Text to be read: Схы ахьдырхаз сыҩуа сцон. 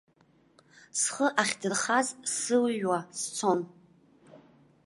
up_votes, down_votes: 0, 2